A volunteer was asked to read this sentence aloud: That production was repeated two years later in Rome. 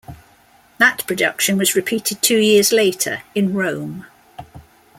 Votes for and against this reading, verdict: 2, 0, accepted